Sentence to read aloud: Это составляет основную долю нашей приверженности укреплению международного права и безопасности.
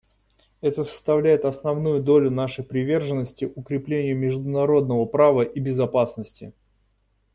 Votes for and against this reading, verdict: 2, 0, accepted